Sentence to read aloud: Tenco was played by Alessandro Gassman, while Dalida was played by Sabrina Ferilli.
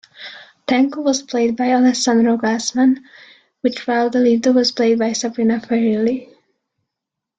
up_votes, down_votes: 1, 2